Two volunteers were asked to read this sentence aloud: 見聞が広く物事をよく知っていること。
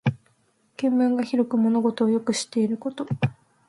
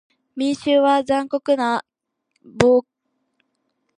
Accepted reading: first